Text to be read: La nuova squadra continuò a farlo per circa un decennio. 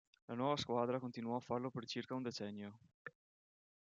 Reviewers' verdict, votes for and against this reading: accepted, 2, 0